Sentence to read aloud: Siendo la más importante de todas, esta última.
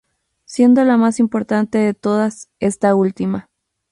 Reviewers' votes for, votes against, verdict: 2, 0, accepted